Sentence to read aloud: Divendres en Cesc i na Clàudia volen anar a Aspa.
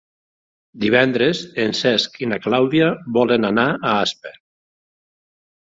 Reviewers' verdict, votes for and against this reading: accepted, 4, 0